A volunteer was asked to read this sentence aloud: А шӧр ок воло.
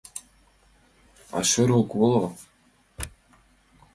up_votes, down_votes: 2, 0